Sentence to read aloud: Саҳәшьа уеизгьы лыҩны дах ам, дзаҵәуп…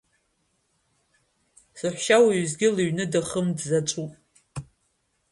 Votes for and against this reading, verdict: 1, 2, rejected